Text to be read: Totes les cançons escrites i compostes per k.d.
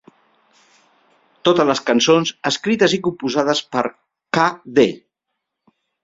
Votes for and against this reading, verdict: 2, 3, rejected